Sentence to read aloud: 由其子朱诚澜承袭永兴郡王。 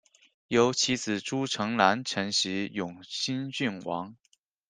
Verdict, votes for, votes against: accepted, 2, 0